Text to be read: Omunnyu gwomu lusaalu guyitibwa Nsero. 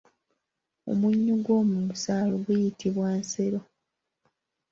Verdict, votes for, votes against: accepted, 2, 0